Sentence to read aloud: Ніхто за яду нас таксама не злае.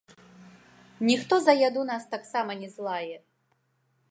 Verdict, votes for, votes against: accepted, 2, 0